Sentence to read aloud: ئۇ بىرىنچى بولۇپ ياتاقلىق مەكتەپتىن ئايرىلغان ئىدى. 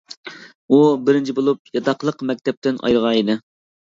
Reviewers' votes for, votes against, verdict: 0, 2, rejected